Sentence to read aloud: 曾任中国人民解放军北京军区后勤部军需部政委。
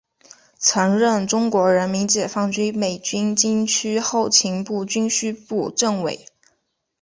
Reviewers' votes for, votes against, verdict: 2, 0, accepted